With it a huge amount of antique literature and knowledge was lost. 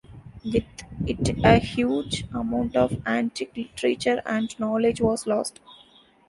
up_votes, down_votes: 1, 2